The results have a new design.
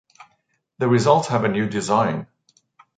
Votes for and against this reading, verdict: 1, 2, rejected